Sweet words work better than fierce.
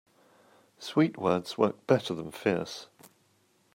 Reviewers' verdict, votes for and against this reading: accepted, 2, 0